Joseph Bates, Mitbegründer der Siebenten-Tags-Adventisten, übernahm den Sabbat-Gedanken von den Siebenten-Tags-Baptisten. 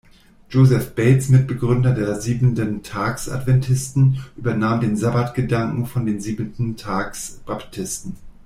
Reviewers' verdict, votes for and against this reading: accepted, 2, 0